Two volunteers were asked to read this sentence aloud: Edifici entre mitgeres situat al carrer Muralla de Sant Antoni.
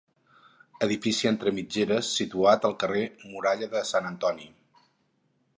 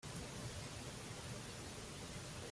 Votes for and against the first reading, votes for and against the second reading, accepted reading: 4, 0, 0, 2, first